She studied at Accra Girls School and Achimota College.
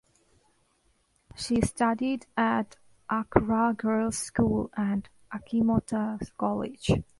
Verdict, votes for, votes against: accepted, 2, 1